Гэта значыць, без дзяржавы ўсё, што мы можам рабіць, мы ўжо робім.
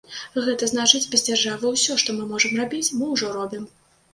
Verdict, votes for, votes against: accepted, 2, 0